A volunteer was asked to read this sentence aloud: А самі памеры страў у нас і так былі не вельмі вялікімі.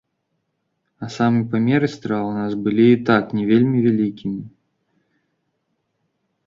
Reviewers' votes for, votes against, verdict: 2, 0, accepted